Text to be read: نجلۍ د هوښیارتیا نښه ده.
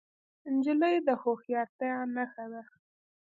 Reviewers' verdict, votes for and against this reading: accepted, 3, 0